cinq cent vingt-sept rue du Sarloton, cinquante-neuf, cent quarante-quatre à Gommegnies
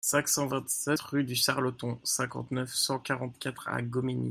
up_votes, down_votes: 2, 0